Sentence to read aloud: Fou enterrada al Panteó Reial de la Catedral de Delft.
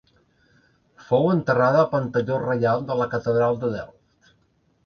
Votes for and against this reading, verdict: 1, 2, rejected